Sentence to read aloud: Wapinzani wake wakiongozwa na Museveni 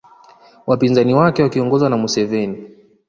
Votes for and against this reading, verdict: 2, 0, accepted